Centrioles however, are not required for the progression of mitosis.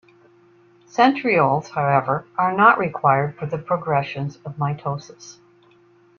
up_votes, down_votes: 2, 0